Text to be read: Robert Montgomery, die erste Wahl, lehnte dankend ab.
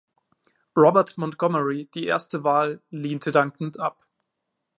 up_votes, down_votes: 2, 0